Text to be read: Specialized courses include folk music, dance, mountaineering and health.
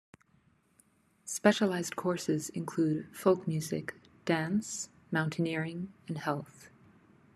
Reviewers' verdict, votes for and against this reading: accepted, 2, 0